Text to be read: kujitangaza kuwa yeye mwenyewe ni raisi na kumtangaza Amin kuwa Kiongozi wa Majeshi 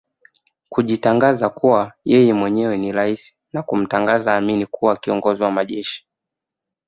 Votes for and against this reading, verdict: 2, 0, accepted